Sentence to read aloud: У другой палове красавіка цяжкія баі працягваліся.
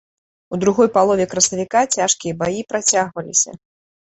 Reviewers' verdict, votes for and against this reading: accepted, 2, 0